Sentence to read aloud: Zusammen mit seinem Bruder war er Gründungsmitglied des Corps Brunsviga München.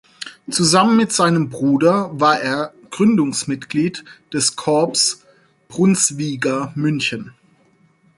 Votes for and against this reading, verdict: 4, 0, accepted